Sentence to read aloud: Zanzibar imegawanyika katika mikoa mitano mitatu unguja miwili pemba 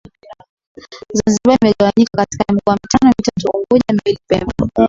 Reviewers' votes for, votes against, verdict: 0, 2, rejected